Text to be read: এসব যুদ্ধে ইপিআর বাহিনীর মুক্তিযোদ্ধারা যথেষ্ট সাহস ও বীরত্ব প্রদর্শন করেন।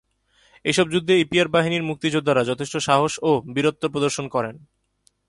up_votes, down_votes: 9, 0